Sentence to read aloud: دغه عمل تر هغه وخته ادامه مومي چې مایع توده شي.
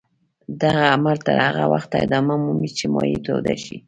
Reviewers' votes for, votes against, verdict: 2, 0, accepted